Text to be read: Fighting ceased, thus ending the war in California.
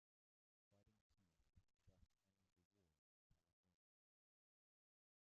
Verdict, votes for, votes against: rejected, 0, 2